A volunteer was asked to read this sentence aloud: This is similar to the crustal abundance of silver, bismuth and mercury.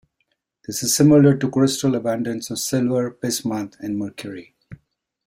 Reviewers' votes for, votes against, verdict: 1, 2, rejected